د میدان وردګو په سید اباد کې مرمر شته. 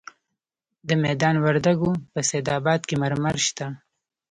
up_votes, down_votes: 2, 0